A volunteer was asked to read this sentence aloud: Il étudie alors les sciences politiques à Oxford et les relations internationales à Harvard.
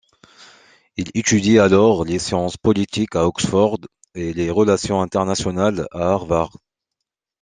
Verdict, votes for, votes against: accepted, 2, 0